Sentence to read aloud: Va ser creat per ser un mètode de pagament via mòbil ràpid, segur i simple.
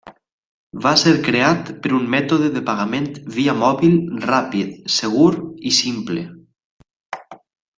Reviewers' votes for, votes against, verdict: 1, 2, rejected